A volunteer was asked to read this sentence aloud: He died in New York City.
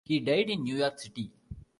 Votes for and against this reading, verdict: 2, 0, accepted